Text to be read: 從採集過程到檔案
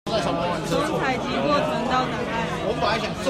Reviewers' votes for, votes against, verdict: 0, 2, rejected